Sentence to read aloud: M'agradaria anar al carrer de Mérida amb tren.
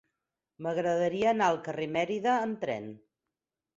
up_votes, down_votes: 0, 4